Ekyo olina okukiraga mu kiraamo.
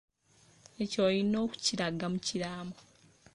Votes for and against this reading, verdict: 2, 1, accepted